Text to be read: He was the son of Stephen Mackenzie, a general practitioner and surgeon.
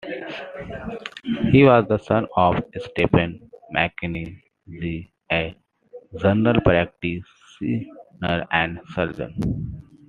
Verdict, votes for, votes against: rejected, 0, 2